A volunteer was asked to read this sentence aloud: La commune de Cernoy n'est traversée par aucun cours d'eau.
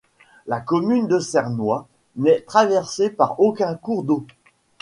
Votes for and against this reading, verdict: 2, 0, accepted